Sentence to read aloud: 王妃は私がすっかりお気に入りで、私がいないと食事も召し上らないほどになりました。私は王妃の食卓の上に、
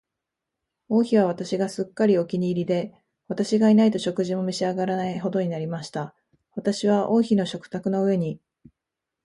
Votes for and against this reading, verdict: 2, 0, accepted